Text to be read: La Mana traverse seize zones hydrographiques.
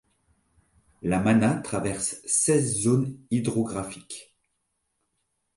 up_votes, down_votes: 2, 0